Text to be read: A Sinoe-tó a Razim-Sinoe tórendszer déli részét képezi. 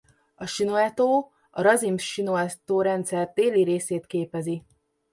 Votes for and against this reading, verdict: 2, 0, accepted